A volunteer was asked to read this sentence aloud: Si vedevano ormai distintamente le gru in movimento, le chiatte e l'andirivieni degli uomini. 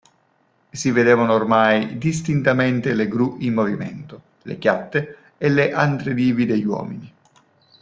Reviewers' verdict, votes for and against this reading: rejected, 1, 2